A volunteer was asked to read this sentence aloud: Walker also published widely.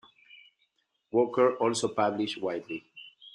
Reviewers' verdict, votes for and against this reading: accepted, 2, 0